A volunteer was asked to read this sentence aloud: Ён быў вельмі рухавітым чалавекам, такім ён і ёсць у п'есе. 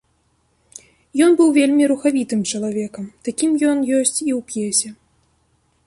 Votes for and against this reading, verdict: 0, 2, rejected